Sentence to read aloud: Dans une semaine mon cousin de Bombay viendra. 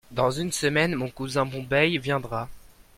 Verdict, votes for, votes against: rejected, 0, 2